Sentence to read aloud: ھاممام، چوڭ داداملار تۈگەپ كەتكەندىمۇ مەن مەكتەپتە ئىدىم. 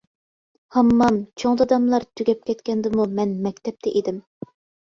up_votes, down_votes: 2, 0